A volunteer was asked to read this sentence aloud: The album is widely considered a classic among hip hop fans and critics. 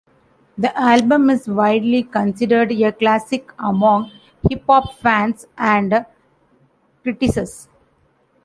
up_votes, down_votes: 0, 2